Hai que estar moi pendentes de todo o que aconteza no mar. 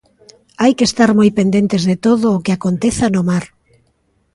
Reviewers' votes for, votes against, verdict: 2, 0, accepted